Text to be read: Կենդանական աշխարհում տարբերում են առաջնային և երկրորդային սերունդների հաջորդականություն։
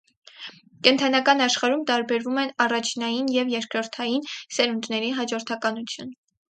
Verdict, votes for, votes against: accepted, 4, 0